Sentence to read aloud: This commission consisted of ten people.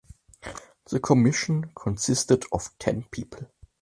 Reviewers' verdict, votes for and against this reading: rejected, 1, 2